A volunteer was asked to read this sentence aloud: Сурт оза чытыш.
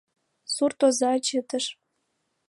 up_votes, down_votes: 2, 0